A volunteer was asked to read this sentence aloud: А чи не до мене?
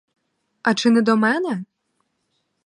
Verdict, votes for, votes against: accepted, 4, 0